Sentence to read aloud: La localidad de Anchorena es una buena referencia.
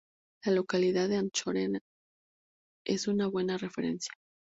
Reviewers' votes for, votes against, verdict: 2, 0, accepted